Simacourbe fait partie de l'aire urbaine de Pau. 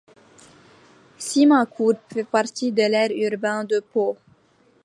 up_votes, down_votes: 1, 2